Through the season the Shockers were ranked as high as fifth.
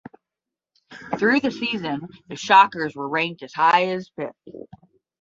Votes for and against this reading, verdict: 5, 5, rejected